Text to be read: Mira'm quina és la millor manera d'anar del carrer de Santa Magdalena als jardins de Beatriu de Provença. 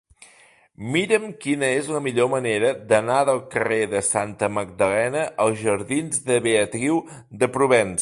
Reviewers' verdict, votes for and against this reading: rejected, 1, 2